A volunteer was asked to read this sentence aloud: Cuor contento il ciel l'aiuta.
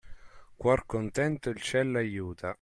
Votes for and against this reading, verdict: 2, 0, accepted